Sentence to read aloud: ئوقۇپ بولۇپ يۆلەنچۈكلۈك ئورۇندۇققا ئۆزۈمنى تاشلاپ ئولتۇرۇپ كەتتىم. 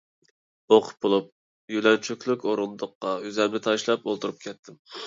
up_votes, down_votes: 2, 0